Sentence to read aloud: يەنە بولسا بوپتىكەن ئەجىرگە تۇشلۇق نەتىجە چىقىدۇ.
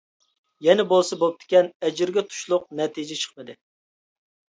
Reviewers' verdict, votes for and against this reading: rejected, 0, 2